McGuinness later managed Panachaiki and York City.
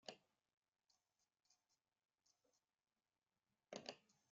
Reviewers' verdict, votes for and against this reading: rejected, 0, 2